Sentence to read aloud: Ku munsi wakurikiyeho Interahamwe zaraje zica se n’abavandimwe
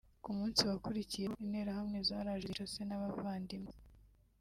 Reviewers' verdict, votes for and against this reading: rejected, 1, 2